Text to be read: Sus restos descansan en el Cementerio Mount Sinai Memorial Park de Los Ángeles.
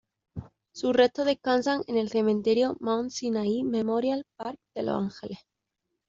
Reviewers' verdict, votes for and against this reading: accepted, 2, 1